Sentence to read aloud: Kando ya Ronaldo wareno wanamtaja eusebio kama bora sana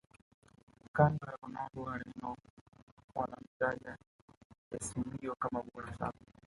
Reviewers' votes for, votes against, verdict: 0, 2, rejected